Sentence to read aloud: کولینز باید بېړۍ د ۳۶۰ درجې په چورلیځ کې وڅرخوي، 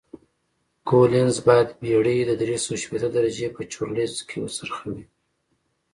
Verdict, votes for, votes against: rejected, 0, 2